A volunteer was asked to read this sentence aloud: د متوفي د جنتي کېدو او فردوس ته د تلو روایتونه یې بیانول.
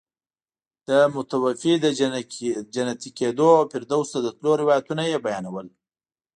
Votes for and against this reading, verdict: 2, 1, accepted